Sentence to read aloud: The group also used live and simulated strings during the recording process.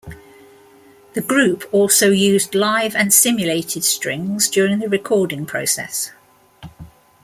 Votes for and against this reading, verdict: 2, 0, accepted